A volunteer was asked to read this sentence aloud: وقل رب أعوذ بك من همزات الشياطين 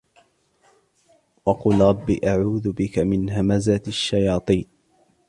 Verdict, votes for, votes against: accepted, 2, 0